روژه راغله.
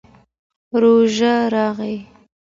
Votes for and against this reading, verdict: 2, 0, accepted